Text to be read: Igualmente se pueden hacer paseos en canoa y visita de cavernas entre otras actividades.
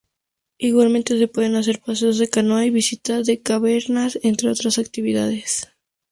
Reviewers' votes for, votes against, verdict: 2, 0, accepted